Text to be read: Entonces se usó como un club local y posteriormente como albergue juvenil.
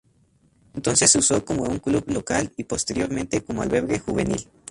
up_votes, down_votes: 2, 2